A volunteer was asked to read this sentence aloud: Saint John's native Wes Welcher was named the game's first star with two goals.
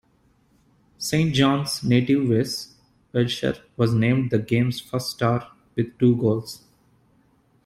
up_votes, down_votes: 2, 0